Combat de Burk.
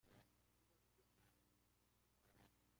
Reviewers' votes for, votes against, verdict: 0, 2, rejected